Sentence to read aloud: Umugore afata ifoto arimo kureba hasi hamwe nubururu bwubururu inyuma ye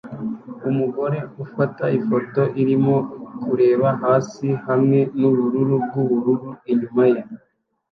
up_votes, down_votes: 0, 2